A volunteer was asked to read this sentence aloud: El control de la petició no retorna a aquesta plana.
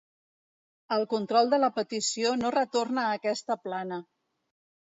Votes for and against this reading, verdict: 2, 0, accepted